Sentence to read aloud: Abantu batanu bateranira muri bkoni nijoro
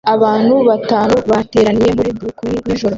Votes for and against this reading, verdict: 0, 2, rejected